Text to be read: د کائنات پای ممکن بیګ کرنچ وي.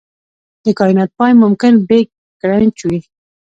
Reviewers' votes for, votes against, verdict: 2, 0, accepted